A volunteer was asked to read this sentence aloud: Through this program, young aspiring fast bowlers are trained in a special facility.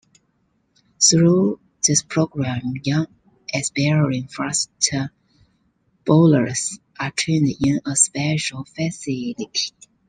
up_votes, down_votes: 0, 2